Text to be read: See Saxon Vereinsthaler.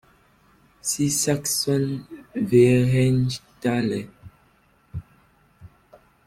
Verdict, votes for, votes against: rejected, 1, 2